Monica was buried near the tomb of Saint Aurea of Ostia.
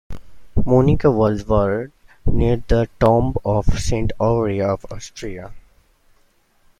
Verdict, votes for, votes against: accepted, 2, 1